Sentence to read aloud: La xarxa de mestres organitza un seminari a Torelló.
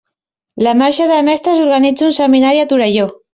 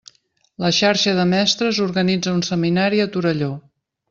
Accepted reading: second